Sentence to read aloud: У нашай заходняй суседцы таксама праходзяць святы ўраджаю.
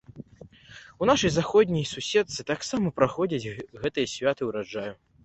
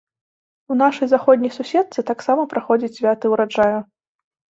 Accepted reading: second